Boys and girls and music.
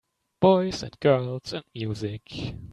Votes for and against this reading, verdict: 2, 0, accepted